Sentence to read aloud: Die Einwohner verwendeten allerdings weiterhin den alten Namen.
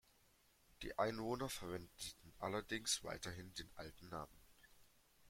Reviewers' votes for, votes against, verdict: 0, 2, rejected